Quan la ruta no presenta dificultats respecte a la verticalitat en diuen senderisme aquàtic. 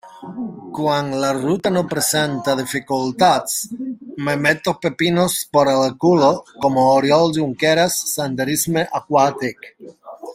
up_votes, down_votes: 0, 2